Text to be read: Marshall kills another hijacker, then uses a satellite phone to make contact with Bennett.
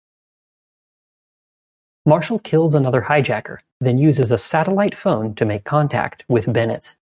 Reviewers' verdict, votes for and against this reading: accepted, 2, 0